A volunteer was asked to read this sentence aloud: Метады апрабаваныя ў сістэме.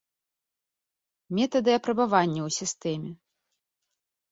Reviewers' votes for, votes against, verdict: 0, 2, rejected